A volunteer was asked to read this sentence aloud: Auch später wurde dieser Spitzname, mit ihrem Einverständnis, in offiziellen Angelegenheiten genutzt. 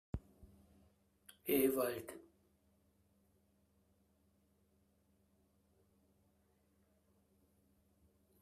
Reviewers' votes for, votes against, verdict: 0, 2, rejected